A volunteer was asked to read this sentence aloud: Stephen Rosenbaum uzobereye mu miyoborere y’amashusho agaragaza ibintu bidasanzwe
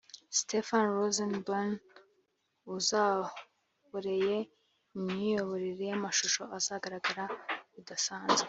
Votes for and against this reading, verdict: 0, 2, rejected